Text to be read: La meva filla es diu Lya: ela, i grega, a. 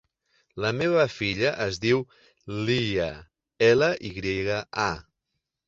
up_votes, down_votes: 2, 3